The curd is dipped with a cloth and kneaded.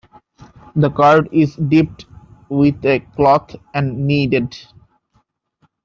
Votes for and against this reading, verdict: 2, 0, accepted